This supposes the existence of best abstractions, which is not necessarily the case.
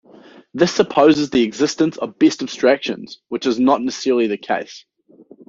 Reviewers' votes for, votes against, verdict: 2, 1, accepted